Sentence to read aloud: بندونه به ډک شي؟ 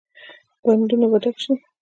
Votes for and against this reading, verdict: 2, 1, accepted